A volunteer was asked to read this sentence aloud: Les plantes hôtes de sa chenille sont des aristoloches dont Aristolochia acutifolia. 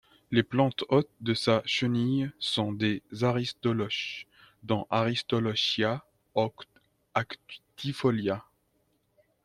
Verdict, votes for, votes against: rejected, 1, 2